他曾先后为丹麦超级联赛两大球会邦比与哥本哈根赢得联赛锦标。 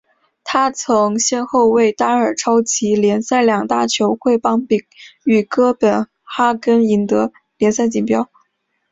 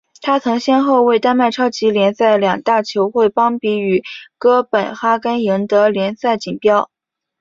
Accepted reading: second